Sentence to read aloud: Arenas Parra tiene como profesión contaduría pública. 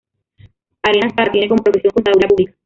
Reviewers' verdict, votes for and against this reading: rejected, 0, 2